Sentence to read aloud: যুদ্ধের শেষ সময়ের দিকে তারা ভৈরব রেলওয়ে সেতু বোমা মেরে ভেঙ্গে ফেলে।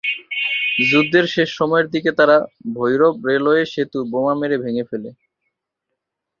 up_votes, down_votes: 9, 2